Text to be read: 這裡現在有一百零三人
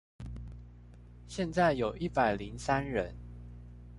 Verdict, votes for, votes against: rejected, 0, 2